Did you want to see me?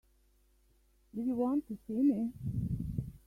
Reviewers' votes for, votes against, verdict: 1, 2, rejected